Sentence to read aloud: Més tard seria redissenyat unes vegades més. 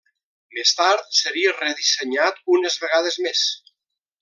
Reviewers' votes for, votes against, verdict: 1, 2, rejected